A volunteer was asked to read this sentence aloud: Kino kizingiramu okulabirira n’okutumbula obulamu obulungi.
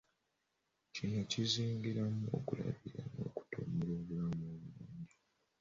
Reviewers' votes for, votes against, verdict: 0, 2, rejected